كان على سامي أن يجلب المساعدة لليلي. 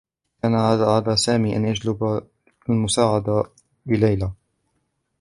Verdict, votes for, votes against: rejected, 1, 3